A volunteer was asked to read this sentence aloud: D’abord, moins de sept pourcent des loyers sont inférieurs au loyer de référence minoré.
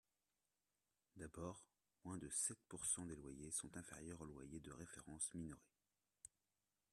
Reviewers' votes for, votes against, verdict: 1, 2, rejected